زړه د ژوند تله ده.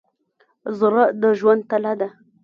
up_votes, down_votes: 1, 2